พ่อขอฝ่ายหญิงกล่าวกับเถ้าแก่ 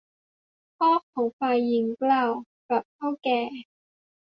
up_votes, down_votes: 2, 0